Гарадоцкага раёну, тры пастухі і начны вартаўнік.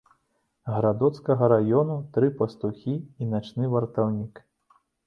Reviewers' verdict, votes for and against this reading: accepted, 2, 0